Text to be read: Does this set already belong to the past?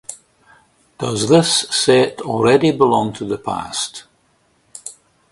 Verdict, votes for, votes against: accepted, 2, 0